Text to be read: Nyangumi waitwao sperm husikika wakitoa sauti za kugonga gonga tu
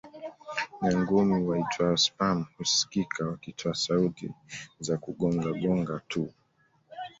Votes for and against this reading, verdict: 2, 0, accepted